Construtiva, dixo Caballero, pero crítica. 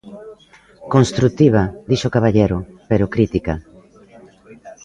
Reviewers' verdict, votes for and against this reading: rejected, 0, 2